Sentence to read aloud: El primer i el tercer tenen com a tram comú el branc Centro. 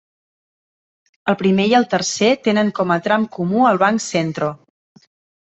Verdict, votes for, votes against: rejected, 1, 2